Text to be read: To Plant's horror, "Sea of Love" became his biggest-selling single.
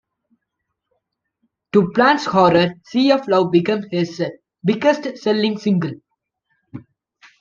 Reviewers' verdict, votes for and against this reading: accepted, 2, 1